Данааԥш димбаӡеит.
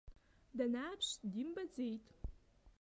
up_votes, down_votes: 1, 2